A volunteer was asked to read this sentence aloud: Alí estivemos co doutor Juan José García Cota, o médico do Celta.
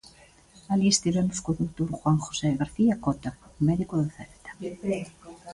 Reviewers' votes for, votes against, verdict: 1, 2, rejected